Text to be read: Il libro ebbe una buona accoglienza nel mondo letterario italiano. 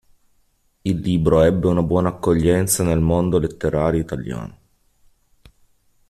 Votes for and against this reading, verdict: 3, 0, accepted